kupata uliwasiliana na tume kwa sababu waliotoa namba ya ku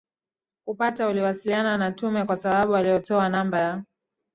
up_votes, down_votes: 0, 2